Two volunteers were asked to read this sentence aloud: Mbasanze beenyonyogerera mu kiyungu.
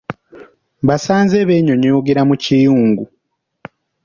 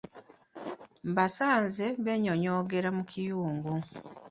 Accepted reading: first